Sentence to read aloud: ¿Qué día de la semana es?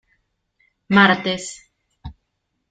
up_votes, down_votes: 0, 2